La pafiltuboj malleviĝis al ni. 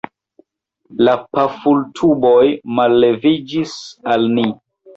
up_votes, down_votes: 0, 2